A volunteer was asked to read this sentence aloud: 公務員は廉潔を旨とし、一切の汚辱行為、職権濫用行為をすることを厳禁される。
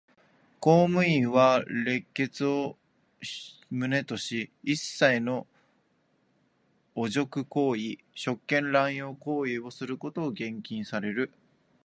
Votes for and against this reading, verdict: 2, 1, accepted